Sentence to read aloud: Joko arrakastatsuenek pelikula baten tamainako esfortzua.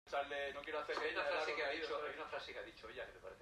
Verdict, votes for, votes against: rejected, 0, 2